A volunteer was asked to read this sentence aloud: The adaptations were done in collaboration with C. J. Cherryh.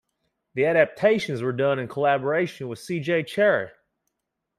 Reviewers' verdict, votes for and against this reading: accepted, 2, 0